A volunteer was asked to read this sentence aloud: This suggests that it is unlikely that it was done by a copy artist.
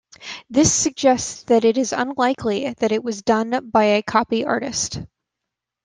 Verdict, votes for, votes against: accepted, 2, 0